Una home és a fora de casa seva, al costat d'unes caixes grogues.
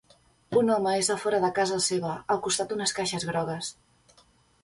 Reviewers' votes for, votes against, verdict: 1, 2, rejected